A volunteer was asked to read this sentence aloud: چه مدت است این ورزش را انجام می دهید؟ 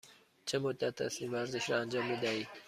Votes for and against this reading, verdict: 2, 0, accepted